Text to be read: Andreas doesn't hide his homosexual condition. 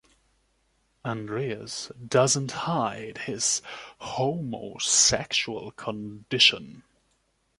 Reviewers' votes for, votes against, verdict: 2, 0, accepted